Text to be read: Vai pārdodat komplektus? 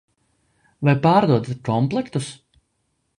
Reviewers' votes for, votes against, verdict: 2, 0, accepted